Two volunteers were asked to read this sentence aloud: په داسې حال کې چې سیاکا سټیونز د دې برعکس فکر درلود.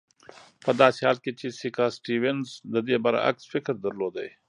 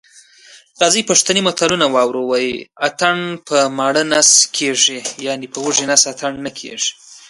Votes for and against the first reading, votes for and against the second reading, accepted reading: 2, 0, 1, 2, first